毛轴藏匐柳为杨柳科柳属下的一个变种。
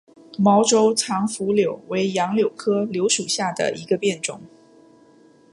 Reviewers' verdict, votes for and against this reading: accepted, 3, 0